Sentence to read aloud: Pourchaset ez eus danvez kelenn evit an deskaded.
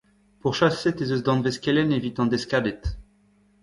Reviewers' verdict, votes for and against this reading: rejected, 1, 2